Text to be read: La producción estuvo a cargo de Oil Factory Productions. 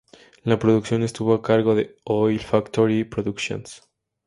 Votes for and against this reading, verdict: 2, 0, accepted